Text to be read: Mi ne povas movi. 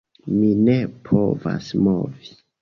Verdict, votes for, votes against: accepted, 2, 1